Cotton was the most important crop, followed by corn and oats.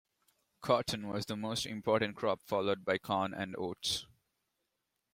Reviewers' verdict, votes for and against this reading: accepted, 2, 0